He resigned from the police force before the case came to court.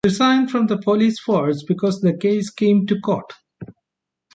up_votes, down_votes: 1, 2